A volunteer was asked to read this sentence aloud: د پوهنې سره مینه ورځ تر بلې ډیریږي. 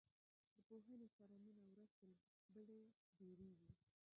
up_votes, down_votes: 0, 2